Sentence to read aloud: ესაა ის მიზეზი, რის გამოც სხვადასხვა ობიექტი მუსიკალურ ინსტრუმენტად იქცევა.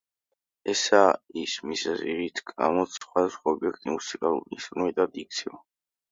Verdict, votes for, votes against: accepted, 2, 0